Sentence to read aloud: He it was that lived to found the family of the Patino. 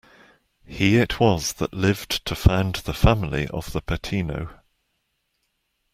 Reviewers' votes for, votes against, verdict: 2, 0, accepted